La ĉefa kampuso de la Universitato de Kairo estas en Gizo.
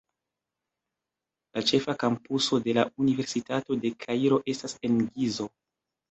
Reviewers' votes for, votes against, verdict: 0, 2, rejected